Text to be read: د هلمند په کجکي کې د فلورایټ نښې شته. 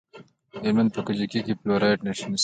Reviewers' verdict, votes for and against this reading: accepted, 2, 0